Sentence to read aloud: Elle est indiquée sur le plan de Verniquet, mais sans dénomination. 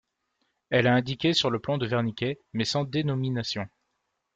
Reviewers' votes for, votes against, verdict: 0, 2, rejected